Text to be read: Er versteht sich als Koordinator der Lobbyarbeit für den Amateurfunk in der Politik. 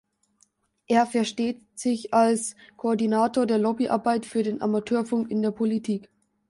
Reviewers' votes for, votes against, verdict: 2, 0, accepted